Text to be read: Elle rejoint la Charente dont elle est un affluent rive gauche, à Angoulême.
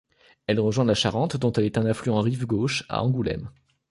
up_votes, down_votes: 2, 0